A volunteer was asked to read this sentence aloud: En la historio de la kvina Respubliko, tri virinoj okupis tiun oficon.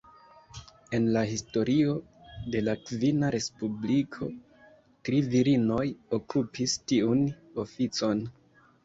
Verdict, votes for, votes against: accepted, 2, 0